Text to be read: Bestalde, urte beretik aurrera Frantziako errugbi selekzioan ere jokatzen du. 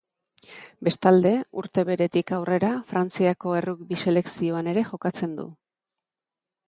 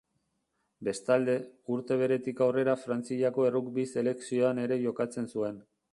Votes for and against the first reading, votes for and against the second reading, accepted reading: 3, 0, 0, 2, first